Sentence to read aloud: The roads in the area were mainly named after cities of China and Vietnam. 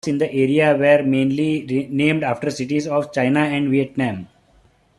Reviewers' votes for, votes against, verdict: 0, 2, rejected